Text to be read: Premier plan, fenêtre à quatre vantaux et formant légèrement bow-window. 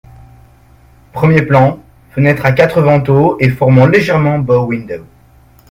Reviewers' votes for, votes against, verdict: 2, 0, accepted